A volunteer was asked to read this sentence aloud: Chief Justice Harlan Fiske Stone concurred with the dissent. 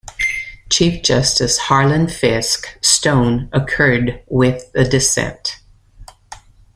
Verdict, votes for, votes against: rejected, 1, 2